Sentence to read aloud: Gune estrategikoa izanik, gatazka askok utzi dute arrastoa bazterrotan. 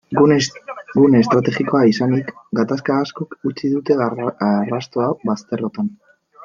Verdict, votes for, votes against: rejected, 0, 2